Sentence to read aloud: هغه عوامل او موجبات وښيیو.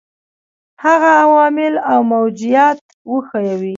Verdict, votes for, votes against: accepted, 2, 1